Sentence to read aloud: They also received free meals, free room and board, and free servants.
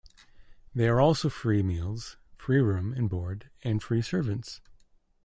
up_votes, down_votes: 1, 2